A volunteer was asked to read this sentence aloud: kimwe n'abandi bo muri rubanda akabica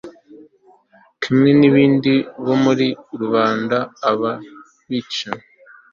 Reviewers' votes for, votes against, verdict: 0, 2, rejected